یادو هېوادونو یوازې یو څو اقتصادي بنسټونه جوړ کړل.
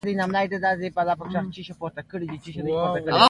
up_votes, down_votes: 0, 2